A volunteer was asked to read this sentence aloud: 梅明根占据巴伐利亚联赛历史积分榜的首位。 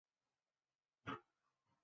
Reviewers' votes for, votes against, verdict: 0, 3, rejected